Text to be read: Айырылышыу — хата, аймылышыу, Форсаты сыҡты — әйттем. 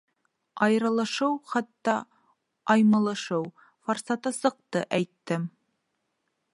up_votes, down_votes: 0, 2